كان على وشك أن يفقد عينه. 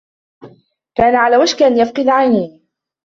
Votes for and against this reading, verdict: 2, 1, accepted